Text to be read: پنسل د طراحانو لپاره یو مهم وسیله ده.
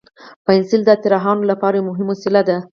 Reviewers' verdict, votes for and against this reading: accepted, 4, 0